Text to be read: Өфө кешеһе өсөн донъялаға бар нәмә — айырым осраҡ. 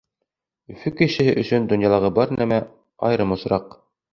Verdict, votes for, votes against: accepted, 2, 0